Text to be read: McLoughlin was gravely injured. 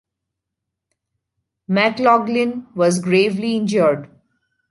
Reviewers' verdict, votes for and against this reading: accepted, 2, 1